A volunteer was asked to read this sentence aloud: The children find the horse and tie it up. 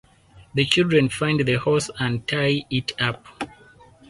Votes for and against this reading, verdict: 4, 0, accepted